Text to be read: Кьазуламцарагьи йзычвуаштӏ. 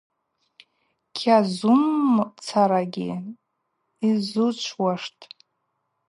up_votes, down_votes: 0, 2